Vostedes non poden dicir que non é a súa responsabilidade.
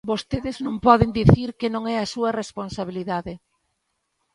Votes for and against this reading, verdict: 2, 0, accepted